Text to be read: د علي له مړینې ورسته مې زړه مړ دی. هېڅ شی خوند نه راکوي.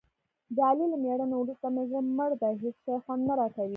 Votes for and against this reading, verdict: 1, 2, rejected